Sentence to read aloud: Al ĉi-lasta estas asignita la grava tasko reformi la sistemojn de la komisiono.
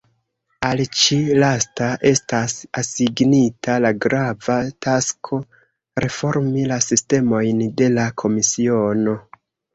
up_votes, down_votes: 0, 2